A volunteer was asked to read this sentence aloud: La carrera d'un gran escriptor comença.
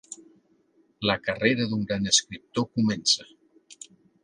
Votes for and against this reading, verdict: 2, 0, accepted